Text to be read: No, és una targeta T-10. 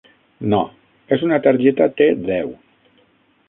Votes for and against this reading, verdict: 0, 2, rejected